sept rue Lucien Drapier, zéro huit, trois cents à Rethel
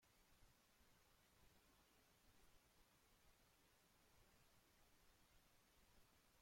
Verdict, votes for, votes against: rejected, 0, 2